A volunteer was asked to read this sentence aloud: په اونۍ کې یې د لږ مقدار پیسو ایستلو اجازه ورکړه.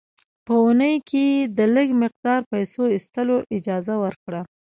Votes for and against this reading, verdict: 0, 2, rejected